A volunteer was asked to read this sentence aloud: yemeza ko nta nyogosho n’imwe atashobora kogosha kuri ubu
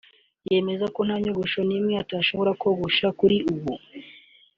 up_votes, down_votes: 2, 0